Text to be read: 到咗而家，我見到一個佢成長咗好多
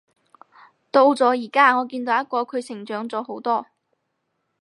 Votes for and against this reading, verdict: 4, 0, accepted